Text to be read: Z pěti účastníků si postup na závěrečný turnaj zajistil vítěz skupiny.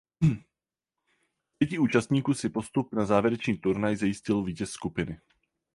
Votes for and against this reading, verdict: 0, 4, rejected